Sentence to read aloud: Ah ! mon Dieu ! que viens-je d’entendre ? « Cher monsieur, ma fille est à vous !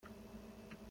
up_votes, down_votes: 0, 2